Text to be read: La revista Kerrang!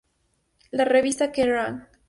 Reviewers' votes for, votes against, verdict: 4, 0, accepted